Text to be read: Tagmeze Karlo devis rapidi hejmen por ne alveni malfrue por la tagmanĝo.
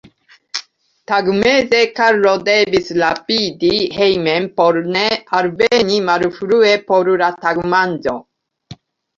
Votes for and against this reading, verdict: 2, 1, accepted